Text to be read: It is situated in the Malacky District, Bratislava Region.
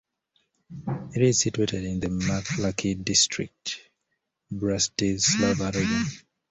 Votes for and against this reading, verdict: 0, 2, rejected